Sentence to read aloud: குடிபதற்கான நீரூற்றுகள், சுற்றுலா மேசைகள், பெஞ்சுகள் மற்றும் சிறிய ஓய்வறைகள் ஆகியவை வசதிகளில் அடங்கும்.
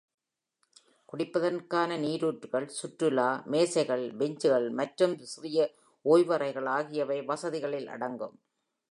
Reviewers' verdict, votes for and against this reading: accepted, 2, 0